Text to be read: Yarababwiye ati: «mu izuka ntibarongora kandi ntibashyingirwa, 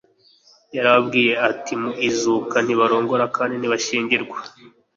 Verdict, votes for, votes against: accepted, 2, 0